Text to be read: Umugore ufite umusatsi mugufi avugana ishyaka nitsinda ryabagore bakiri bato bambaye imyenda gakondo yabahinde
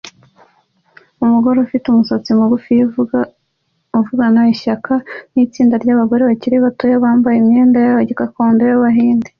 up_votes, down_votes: 2, 0